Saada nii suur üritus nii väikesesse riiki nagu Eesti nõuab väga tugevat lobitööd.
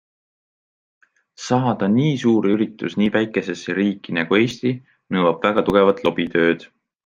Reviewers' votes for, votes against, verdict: 2, 0, accepted